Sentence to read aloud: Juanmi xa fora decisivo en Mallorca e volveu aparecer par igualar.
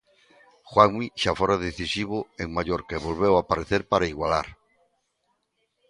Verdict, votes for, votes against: rejected, 1, 2